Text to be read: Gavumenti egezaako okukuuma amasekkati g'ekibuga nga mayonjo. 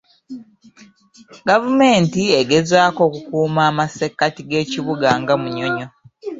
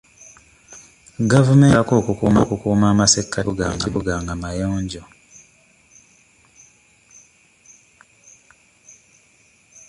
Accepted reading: first